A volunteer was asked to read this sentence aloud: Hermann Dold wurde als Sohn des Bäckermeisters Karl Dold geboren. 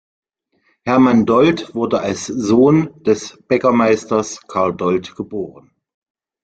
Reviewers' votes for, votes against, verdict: 2, 0, accepted